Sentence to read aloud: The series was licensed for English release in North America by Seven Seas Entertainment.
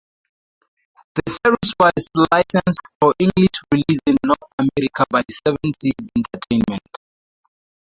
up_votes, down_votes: 0, 2